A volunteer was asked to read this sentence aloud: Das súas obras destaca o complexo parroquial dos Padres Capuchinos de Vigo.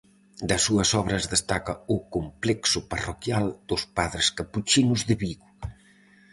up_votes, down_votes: 2, 2